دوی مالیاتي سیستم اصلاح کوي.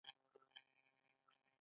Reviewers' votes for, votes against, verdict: 1, 2, rejected